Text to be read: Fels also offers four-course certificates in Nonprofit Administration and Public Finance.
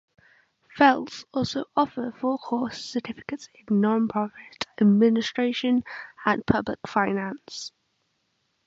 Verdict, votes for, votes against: accepted, 2, 0